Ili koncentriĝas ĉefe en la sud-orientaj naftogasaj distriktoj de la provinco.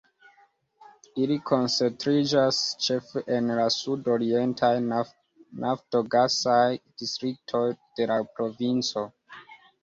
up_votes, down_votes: 1, 2